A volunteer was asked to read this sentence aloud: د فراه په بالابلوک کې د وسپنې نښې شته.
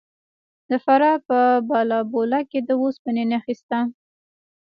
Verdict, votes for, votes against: rejected, 1, 2